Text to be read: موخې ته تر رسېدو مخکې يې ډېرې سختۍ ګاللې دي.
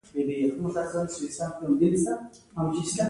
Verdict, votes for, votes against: accepted, 2, 0